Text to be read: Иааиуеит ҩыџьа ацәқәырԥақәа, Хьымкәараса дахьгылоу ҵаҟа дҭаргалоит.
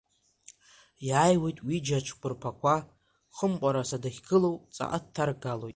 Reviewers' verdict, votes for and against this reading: rejected, 0, 2